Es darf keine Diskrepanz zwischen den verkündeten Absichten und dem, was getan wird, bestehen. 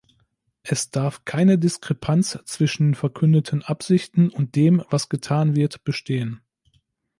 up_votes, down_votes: 1, 3